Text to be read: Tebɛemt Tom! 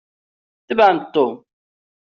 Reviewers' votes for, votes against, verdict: 1, 2, rejected